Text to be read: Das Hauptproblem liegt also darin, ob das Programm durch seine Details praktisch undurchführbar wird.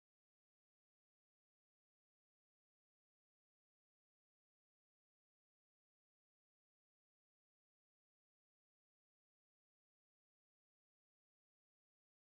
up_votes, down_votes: 0, 2